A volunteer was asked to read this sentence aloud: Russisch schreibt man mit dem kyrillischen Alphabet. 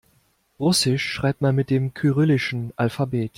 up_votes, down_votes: 2, 0